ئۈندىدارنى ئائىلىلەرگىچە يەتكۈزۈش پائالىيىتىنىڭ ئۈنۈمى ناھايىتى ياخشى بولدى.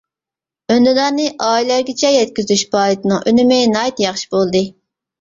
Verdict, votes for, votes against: rejected, 1, 2